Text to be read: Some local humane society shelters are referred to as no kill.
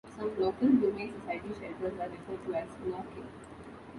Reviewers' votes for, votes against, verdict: 0, 2, rejected